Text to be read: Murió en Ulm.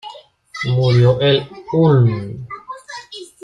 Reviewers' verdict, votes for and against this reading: rejected, 1, 2